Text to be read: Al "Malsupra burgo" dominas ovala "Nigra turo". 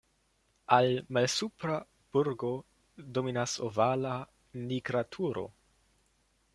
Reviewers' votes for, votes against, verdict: 2, 0, accepted